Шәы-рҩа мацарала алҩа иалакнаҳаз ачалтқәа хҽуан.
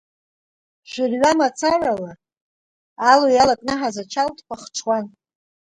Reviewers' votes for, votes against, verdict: 2, 1, accepted